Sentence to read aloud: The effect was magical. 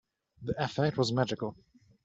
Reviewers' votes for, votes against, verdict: 3, 1, accepted